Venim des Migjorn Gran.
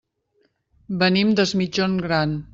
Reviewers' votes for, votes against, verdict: 0, 2, rejected